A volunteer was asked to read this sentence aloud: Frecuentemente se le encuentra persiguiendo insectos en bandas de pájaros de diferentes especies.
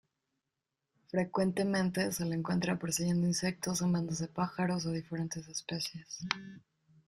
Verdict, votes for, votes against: accepted, 2, 0